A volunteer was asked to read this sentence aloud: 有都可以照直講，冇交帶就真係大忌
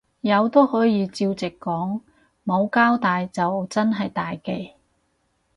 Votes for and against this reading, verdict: 2, 2, rejected